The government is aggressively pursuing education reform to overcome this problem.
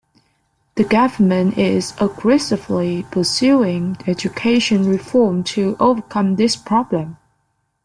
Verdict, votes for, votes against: accepted, 2, 0